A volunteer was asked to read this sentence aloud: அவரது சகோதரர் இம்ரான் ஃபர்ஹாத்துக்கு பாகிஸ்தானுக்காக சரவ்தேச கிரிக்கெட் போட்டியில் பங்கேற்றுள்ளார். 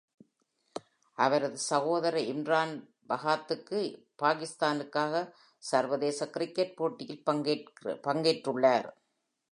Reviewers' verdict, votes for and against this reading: rejected, 1, 2